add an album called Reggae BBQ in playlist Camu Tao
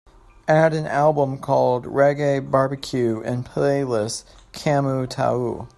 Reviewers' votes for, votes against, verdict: 2, 0, accepted